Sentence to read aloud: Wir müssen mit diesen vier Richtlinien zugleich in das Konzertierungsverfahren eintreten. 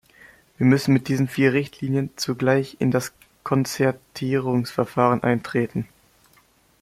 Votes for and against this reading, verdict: 2, 0, accepted